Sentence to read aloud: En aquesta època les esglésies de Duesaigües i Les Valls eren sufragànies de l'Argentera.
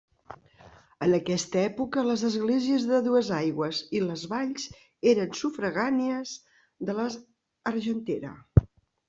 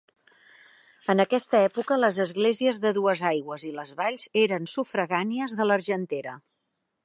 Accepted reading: second